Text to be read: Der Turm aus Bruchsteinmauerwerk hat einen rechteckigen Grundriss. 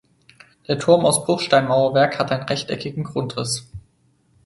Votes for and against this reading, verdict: 4, 2, accepted